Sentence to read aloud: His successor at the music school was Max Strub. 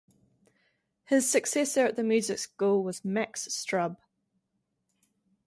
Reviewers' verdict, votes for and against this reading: rejected, 2, 2